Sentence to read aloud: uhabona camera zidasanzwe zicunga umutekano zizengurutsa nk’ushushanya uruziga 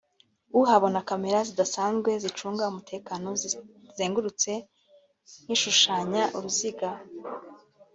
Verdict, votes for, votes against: rejected, 1, 2